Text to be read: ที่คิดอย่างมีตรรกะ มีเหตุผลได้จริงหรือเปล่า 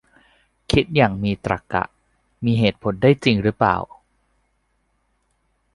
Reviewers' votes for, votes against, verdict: 1, 2, rejected